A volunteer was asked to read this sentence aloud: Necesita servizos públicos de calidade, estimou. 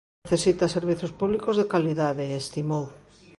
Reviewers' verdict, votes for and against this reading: rejected, 0, 2